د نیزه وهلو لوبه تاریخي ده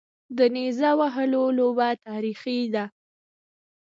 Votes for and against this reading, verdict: 2, 1, accepted